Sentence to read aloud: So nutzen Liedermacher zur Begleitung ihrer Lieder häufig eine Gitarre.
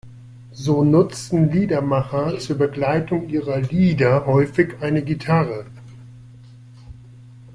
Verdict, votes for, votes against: accepted, 2, 0